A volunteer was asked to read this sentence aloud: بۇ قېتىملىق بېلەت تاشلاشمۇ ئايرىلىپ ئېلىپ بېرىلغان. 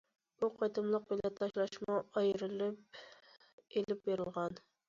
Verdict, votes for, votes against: accepted, 2, 0